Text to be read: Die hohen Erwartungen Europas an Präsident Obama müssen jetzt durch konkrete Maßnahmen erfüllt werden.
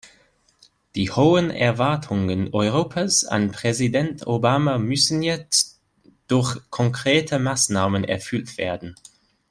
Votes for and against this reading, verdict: 2, 0, accepted